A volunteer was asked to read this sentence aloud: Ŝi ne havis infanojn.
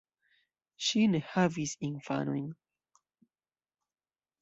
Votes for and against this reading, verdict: 0, 2, rejected